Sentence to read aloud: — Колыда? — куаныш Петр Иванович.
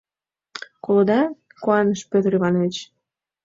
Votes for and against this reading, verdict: 2, 0, accepted